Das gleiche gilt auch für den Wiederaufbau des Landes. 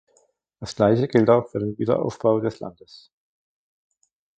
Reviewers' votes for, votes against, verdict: 1, 2, rejected